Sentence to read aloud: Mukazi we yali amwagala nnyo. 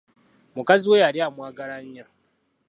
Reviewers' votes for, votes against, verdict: 2, 0, accepted